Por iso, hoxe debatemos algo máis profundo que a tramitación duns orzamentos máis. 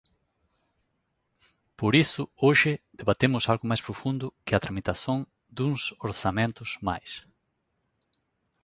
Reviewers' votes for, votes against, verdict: 0, 2, rejected